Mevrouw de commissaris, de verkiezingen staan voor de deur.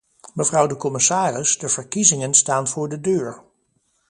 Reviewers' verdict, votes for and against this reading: accepted, 2, 0